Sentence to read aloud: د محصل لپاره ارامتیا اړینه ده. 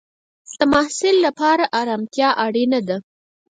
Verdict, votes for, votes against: rejected, 2, 4